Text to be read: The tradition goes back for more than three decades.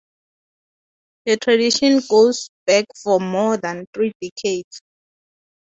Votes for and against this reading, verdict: 2, 0, accepted